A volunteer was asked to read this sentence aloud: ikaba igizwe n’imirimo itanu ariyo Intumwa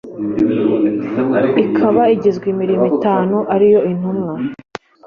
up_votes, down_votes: 2, 0